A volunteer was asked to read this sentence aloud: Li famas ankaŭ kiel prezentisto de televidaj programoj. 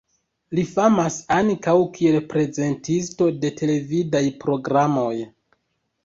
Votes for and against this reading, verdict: 1, 2, rejected